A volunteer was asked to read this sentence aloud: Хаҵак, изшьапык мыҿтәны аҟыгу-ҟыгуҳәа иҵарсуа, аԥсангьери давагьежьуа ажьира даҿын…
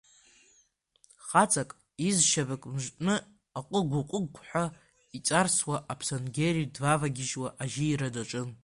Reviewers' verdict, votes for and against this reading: rejected, 1, 2